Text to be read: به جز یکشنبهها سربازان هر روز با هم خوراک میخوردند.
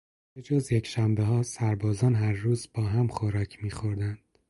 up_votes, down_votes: 4, 0